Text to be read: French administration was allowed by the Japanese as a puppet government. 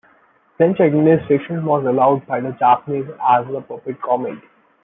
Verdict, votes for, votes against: rejected, 0, 2